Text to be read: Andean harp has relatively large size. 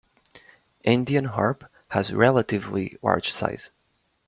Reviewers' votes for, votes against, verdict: 2, 0, accepted